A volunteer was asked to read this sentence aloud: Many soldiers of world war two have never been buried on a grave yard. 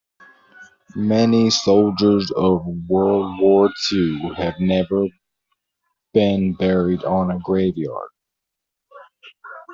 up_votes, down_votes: 2, 0